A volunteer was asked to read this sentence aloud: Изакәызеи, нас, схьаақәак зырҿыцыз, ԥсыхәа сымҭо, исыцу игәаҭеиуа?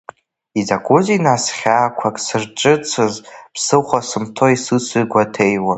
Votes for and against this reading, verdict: 0, 2, rejected